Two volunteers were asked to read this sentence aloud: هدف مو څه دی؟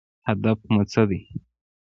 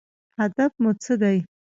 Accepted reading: second